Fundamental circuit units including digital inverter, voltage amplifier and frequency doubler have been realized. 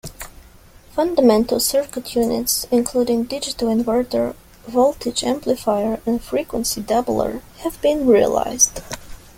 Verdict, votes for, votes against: rejected, 1, 2